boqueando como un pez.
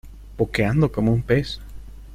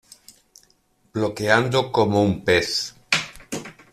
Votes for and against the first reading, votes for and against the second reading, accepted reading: 2, 0, 1, 2, first